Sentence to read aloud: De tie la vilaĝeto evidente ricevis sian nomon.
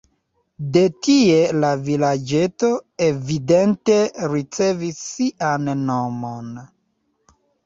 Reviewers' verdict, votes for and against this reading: accepted, 2, 0